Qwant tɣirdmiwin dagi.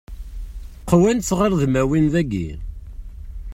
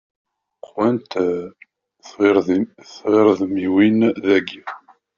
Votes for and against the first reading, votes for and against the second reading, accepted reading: 2, 1, 1, 2, first